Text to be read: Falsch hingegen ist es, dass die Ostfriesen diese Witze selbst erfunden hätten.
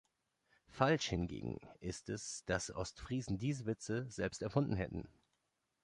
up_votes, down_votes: 0, 2